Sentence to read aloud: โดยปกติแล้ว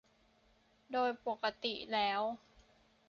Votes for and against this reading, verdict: 2, 0, accepted